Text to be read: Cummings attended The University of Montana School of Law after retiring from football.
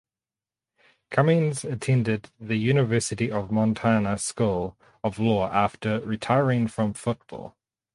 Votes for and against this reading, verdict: 2, 0, accepted